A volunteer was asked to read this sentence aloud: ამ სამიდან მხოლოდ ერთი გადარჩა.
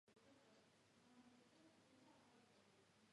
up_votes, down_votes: 0, 2